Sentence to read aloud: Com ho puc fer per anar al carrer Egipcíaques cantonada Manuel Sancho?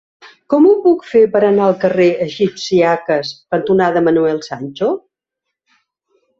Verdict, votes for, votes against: accepted, 2, 1